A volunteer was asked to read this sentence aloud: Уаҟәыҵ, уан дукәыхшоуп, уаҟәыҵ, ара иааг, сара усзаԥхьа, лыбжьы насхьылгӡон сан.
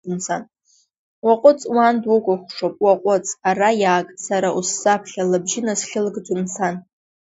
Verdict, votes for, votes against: accepted, 2, 0